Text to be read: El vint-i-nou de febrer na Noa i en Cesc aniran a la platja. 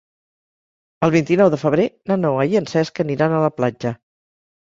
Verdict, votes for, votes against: accepted, 2, 0